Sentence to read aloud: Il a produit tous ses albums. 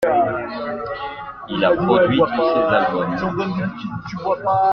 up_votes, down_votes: 2, 1